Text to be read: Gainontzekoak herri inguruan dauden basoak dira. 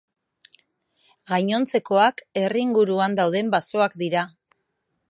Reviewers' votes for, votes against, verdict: 2, 0, accepted